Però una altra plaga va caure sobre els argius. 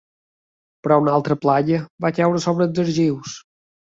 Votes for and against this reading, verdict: 1, 2, rejected